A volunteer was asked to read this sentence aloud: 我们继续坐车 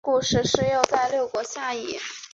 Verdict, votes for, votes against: rejected, 0, 3